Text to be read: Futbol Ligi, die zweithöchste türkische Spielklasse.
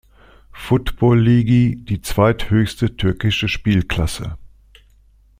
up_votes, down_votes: 2, 0